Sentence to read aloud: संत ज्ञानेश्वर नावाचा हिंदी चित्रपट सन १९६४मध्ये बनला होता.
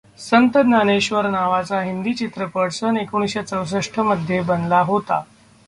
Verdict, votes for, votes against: rejected, 0, 2